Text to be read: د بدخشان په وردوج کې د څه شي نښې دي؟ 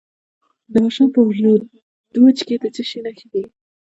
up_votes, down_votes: 1, 2